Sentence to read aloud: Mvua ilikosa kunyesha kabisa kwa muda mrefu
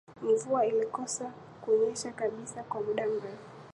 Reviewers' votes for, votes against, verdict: 9, 1, accepted